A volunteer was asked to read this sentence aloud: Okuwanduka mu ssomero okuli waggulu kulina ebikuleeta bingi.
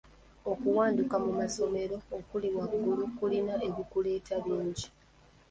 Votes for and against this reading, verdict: 2, 0, accepted